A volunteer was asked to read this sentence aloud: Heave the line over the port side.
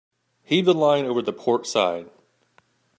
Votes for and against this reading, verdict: 2, 0, accepted